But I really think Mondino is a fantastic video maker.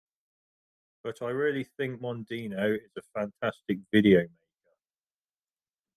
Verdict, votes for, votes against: rejected, 1, 2